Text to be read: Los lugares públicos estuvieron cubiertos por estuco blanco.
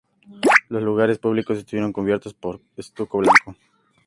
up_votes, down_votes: 2, 0